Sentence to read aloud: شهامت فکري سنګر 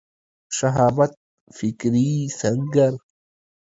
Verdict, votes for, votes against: accepted, 2, 1